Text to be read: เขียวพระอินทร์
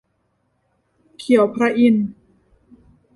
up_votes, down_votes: 2, 0